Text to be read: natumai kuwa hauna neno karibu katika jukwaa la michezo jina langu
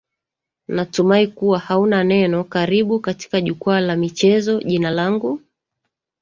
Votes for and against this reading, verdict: 0, 2, rejected